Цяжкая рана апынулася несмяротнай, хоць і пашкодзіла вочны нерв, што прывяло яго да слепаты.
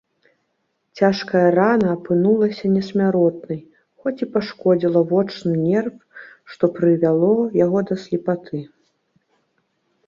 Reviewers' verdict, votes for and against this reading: accepted, 4, 0